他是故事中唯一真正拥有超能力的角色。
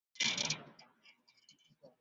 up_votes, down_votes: 0, 2